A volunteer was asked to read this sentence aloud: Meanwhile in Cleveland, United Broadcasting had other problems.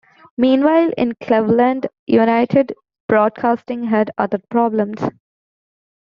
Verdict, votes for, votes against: accepted, 2, 1